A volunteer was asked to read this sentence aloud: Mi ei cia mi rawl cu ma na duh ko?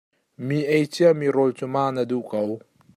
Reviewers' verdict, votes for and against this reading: accepted, 2, 0